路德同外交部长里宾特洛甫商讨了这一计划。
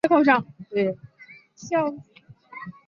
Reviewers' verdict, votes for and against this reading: rejected, 0, 2